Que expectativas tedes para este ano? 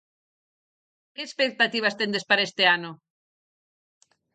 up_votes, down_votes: 2, 4